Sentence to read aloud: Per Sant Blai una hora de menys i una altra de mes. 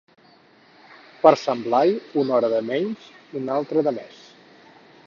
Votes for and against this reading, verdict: 4, 0, accepted